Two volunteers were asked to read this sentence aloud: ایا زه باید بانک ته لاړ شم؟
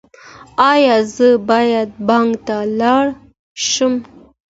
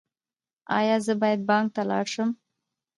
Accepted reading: first